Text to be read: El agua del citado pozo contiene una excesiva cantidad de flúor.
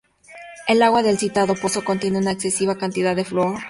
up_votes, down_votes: 2, 0